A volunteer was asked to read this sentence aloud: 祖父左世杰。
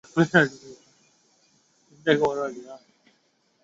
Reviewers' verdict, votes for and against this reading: rejected, 0, 2